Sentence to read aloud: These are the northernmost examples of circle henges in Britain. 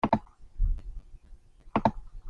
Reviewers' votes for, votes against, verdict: 0, 2, rejected